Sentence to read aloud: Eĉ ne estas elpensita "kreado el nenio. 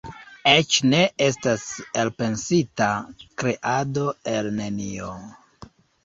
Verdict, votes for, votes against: rejected, 1, 2